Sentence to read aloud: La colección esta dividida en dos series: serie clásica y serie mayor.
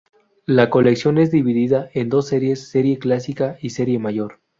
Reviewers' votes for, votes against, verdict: 0, 2, rejected